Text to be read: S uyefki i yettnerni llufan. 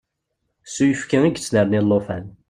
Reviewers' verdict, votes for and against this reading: accepted, 2, 0